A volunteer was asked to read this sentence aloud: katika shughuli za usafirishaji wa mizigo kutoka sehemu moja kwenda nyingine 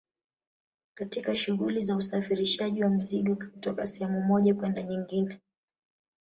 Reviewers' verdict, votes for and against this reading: rejected, 0, 2